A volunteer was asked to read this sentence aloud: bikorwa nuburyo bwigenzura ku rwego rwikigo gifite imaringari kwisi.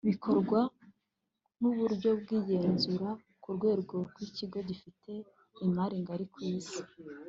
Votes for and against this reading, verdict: 2, 0, accepted